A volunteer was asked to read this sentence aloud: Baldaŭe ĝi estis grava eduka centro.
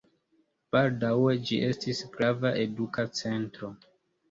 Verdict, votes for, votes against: accepted, 2, 1